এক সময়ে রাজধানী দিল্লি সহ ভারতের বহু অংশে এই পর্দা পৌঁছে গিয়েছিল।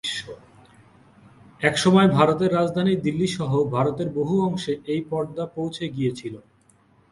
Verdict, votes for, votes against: rejected, 6, 10